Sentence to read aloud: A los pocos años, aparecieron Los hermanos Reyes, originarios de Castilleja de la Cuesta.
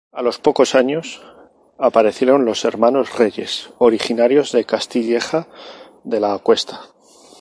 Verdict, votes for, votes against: accepted, 4, 2